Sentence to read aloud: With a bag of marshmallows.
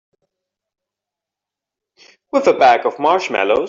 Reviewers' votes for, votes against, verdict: 1, 2, rejected